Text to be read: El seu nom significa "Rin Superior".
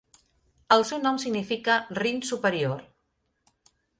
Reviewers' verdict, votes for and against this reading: accepted, 6, 0